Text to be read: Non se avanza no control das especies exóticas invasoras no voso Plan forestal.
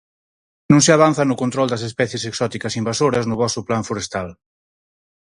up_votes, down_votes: 4, 0